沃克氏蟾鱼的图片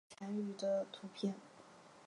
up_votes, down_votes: 0, 2